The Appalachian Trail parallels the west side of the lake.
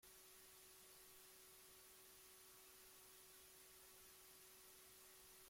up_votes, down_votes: 0, 2